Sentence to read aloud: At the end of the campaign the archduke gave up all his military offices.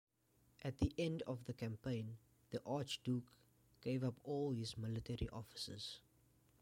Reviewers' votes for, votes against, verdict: 2, 0, accepted